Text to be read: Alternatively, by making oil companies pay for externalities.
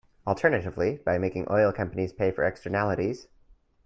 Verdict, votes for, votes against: accepted, 2, 0